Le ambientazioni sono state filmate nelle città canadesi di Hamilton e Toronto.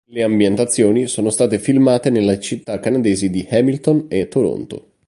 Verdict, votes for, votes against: rejected, 1, 2